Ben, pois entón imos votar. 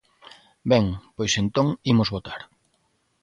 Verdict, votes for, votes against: accepted, 2, 0